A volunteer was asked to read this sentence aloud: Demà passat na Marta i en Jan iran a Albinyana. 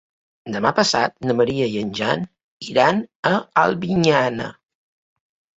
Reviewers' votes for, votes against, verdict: 0, 2, rejected